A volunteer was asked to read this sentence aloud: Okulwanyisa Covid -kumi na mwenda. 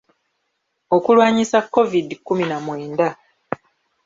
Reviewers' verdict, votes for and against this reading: rejected, 1, 2